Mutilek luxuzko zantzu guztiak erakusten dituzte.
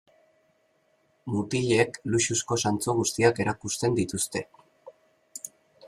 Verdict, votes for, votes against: accepted, 2, 0